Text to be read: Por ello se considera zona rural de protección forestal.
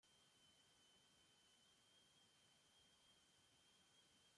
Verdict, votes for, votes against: rejected, 0, 2